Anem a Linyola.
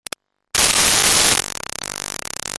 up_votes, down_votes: 0, 2